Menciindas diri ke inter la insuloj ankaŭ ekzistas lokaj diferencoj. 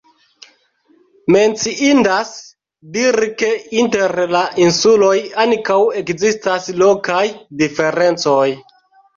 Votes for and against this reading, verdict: 1, 2, rejected